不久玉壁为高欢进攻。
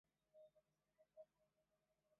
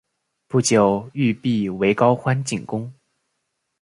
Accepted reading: second